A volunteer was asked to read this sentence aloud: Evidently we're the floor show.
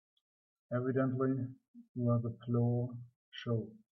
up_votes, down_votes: 3, 0